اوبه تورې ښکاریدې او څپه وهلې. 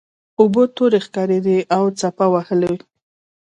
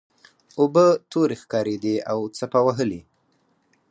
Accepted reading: second